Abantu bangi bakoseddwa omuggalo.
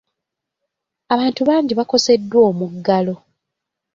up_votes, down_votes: 2, 0